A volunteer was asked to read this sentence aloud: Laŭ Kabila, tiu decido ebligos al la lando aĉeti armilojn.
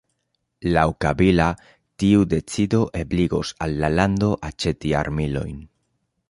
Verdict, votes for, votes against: accepted, 2, 0